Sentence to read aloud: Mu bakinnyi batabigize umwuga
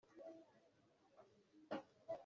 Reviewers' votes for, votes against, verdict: 0, 2, rejected